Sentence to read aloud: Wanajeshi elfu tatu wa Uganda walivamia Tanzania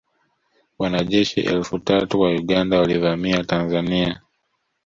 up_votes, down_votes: 2, 0